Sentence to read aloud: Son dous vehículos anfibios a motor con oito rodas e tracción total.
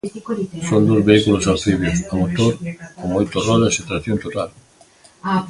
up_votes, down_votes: 0, 2